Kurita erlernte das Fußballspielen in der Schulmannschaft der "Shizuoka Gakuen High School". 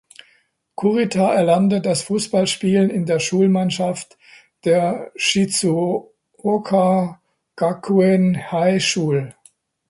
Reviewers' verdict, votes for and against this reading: rejected, 0, 2